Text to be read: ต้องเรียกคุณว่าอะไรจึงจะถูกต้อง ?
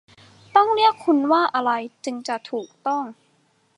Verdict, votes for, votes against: accepted, 2, 0